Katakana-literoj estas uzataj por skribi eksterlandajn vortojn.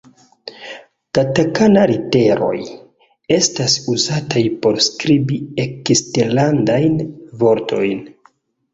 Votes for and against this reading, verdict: 2, 1, accepted